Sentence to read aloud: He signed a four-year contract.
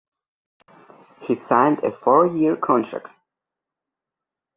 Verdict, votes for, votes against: accepted, 2, 0